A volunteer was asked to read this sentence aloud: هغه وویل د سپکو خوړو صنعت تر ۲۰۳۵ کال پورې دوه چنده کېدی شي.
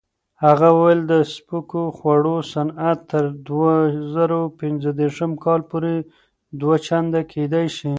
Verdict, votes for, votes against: rejected, 0, 2